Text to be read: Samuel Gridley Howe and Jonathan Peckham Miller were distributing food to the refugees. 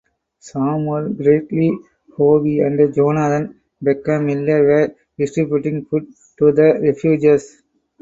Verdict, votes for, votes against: rejected, 0, 4